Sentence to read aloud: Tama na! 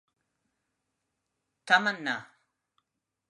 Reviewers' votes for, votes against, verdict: 2, 0, accepted